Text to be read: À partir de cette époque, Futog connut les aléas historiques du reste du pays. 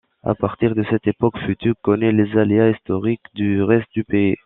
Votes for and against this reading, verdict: 0, 2, rejected